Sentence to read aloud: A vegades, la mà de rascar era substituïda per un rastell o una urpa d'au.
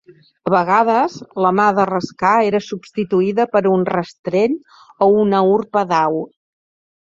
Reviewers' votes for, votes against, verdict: 1, 2, rejected